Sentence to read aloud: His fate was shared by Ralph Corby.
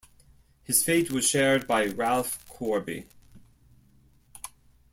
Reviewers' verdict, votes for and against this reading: accepted, 2, 0